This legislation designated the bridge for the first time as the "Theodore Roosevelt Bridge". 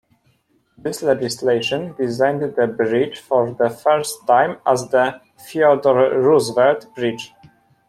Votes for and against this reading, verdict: 0, 2, rejected